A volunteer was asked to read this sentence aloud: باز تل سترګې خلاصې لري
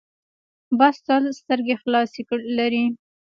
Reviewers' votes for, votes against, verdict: 2, 0, accepted